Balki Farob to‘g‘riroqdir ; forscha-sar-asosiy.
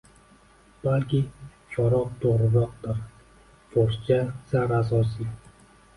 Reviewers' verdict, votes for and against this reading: rejected, 1, 2